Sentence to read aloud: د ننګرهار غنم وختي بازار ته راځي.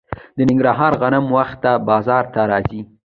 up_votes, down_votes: 2, 0